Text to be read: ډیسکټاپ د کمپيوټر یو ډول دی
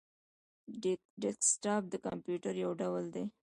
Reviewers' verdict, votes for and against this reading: rejected, 1, 2